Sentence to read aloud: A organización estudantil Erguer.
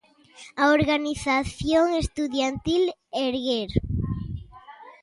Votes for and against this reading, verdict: 0, 2, rejected